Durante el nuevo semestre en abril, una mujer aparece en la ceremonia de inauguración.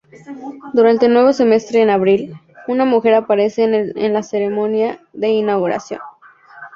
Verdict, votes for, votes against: rejected, 0, 4